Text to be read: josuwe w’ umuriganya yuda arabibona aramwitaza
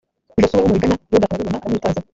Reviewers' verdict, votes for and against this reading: rejected, 0, 2